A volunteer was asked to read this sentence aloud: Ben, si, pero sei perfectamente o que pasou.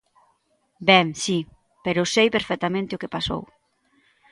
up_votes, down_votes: 2, 0